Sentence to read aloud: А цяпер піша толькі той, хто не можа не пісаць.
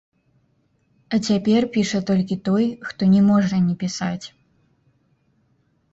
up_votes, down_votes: 0, 2